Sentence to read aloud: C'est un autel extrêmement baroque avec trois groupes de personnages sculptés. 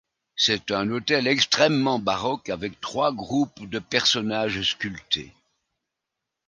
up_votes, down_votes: 2, 0